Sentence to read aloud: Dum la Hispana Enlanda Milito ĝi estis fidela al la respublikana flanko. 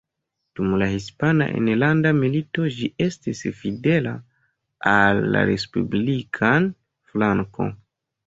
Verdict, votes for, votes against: rejected, 0, 2